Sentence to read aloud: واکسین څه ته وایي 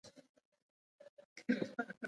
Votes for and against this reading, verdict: 0, 2, rejected